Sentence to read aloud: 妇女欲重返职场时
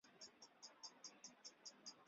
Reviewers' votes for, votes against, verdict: 0, 3, rejected